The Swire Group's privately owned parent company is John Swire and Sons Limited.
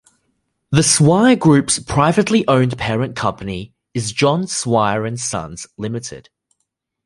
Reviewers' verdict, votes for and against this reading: accepted, 2, 0